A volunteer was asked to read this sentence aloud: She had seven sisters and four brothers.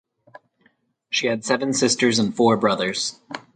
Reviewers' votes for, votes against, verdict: 4, 0, accepted